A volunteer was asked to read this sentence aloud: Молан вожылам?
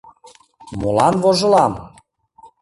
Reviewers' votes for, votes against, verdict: 2, 0, accepted